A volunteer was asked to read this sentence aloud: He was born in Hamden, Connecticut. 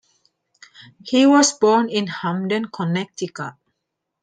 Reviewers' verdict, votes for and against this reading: accepted, 2, 1